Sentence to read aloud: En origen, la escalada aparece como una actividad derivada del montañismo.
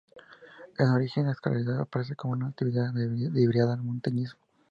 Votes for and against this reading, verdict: 2, 0, accepted